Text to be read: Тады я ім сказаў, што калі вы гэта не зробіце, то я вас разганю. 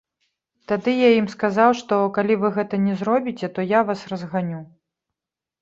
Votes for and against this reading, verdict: 2, 0, accepted